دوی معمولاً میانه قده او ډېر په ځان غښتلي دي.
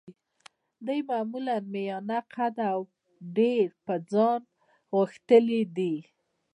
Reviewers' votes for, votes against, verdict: 0, 2, rejected